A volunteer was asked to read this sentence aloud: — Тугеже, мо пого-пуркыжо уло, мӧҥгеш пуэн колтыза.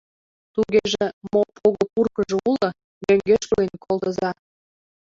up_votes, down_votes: 0, 2